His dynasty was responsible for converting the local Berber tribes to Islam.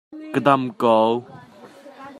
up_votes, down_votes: 0, 2